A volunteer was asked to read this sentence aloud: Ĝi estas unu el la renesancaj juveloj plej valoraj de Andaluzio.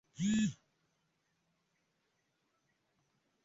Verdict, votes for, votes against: rejected, 0, 3